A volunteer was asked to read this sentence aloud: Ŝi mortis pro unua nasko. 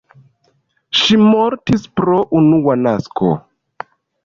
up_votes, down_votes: 2, 0